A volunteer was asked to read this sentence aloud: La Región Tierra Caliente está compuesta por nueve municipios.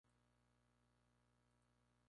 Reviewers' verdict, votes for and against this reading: rejected, 0, 2